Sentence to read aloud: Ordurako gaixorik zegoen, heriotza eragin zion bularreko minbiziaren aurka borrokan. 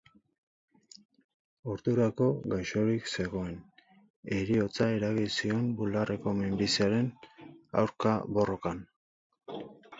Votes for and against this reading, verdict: 4, 0, accepted